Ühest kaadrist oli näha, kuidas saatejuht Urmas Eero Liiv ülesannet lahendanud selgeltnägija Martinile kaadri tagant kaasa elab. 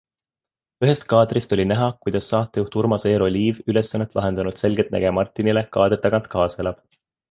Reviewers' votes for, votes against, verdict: 2, 0, accepted